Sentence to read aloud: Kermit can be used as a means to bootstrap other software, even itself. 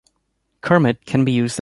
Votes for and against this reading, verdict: 0, 2, rejected